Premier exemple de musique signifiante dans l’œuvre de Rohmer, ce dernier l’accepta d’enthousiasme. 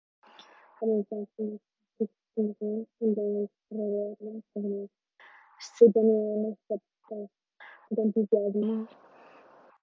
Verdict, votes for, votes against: rejected, 0, 2